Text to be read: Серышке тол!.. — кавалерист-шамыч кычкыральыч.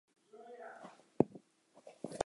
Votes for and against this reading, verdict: 0, 2, rejected